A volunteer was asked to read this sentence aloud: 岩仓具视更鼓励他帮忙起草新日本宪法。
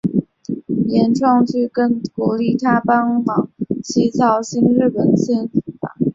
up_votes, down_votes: 0, 2